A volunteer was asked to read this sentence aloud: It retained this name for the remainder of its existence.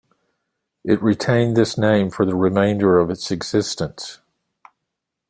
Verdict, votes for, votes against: accepted, 2, 0